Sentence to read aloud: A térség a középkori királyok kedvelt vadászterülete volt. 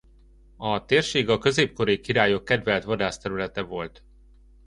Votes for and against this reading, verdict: 2, 0, accepted